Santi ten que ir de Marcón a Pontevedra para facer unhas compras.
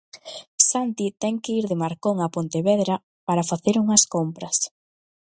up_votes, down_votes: 2, 0